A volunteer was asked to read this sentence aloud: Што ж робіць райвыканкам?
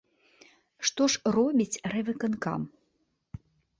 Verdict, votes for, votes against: accepted, 2, 0